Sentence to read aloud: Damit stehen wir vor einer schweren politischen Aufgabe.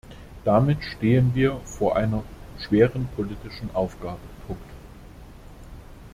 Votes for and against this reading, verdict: 0, 2, rejected